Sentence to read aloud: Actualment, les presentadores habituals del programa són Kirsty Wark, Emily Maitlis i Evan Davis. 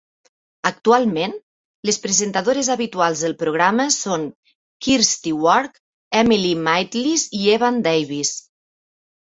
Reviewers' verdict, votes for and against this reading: accepted, 2, 0